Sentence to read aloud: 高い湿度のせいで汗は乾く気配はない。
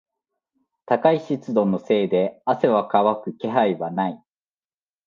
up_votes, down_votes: 2, 0